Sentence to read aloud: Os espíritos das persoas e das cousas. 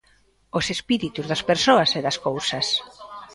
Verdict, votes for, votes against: rejected, 0, 2